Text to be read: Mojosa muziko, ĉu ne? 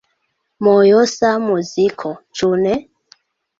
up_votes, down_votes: 2, 1